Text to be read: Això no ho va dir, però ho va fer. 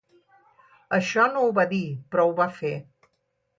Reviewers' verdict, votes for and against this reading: rejected, 2, 2